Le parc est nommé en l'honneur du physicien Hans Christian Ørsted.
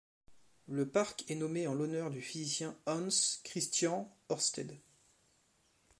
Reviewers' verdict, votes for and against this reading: accepted, 2, 0